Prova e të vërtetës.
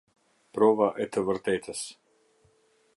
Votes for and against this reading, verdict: 2, 0, accepted